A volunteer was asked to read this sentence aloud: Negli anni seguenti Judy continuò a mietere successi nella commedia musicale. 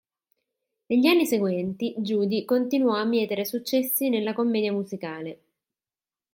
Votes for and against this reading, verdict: 2, 0, accepted